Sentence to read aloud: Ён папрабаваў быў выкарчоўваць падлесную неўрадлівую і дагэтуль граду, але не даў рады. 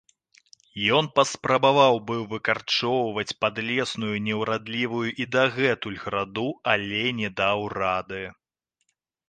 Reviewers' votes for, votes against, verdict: 0, 2, rejected